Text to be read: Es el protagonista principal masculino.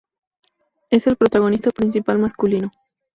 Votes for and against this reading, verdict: 2, 0, accepted